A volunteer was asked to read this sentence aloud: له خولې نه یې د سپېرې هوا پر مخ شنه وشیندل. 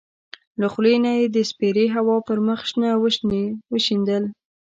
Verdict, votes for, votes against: rejected, 0, 2